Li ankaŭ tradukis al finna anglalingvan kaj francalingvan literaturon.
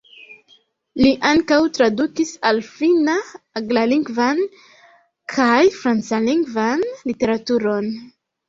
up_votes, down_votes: 2, 3